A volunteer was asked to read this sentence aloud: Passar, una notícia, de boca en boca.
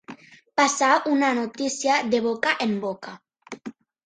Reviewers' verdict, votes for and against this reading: accepted, 3, 0